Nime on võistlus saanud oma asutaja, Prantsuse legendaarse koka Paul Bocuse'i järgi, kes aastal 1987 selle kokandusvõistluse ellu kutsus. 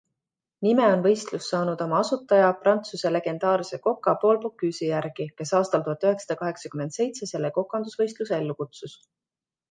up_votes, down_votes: 0, 2